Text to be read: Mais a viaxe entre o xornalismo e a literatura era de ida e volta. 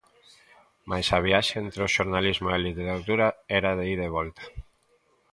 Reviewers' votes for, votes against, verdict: 2, 0, accepted